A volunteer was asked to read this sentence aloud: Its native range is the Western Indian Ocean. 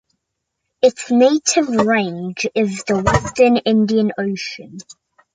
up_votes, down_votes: 2, 0